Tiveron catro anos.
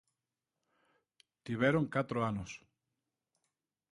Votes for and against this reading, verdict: 2, 0, accepted